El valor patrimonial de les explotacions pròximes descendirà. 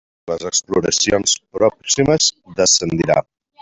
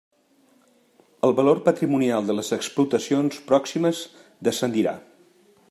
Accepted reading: second